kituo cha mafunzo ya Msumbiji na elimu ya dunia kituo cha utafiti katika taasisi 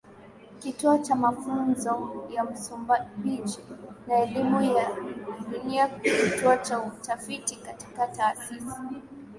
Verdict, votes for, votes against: rejected, 0, 3